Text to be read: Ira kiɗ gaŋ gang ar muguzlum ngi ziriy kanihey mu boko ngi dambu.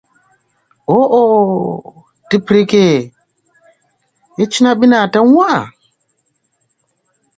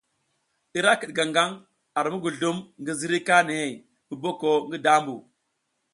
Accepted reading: second